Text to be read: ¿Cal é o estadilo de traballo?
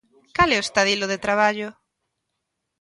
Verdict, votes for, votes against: accepted, 2, 0